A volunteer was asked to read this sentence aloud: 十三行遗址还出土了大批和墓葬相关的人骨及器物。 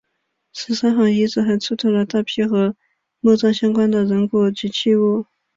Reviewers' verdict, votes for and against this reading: accepted, 3, 2